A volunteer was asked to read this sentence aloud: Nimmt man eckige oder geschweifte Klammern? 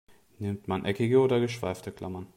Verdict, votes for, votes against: accepted, 2, 1